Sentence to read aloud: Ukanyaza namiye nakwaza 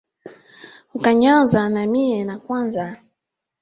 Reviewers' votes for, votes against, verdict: 2, 1, accepted